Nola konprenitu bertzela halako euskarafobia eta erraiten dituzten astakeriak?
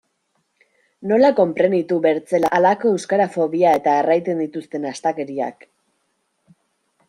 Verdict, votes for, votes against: accepted, 2, 0